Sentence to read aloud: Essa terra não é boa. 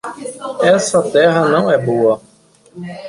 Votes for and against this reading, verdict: 1, 2, rejected